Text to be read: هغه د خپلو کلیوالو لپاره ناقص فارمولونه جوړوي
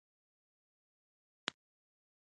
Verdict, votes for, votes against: rejected, 1, 3